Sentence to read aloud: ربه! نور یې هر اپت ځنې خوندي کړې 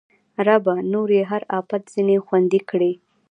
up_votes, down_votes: 2, 0